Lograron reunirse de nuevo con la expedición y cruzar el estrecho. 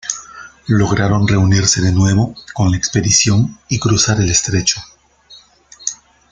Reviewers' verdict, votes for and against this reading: accepted, 2, 1